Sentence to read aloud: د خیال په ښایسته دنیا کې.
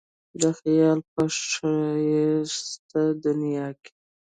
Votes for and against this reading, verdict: 2, 0, accepted